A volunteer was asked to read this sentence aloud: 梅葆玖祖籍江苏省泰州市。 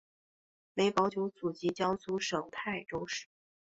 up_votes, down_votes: 3, 1